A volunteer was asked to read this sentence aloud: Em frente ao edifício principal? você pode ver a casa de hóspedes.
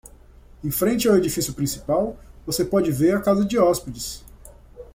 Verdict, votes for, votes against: rejected, 1, 2